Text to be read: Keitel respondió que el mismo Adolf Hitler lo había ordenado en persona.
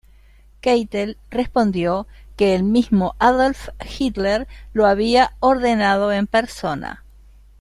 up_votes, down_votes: 2, 0